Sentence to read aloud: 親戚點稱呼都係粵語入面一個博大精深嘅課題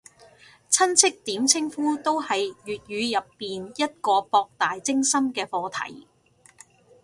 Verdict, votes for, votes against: rejected, 1, 2